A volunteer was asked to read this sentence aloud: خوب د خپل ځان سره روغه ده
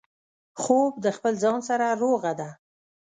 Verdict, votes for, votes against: accepted, 2, 0